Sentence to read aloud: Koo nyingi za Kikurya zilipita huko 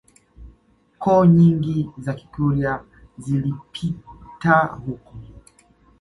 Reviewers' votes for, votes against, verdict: 2, 0, accepted